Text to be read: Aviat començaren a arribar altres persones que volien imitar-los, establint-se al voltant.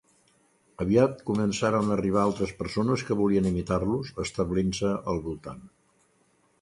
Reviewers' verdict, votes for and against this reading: accepted, 2, 0